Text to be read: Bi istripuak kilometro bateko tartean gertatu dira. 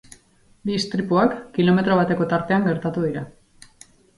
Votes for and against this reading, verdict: 0, 2, rejected